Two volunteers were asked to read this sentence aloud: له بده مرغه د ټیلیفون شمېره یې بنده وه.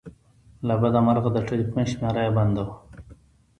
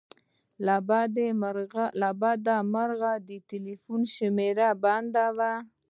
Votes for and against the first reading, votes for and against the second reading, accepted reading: 2, 0, 1, 2, first